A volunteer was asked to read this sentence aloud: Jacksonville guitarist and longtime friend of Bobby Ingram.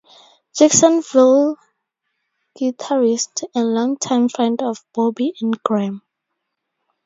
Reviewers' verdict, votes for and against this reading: accepted, 2, 0